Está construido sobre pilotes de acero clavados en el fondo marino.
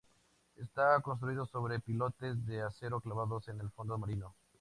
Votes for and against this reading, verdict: 4, 0, accepted